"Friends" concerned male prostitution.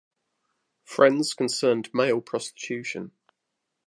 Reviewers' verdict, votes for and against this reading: rejected, 0, 2